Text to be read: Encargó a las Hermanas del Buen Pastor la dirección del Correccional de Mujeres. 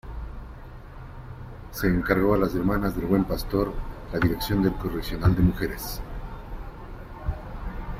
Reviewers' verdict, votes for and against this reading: rejected, 1, 2